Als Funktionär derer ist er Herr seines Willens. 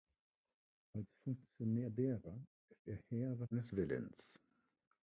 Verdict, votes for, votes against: rejected, 0, 2